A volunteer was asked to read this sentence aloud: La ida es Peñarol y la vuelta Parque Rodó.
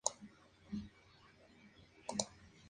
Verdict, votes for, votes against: rejected, 0, 2